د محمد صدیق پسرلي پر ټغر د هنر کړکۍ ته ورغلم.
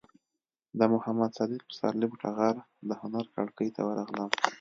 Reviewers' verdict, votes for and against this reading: rejected, 1, 2